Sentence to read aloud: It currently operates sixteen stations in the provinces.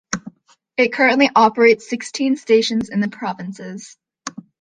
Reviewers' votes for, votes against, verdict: 2, 0, accepted